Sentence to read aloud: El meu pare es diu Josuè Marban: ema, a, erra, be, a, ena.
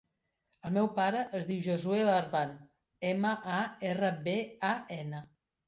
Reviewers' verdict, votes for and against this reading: rejected, 1, 2